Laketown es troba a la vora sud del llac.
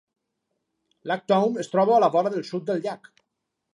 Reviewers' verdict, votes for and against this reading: rejected, 2, 4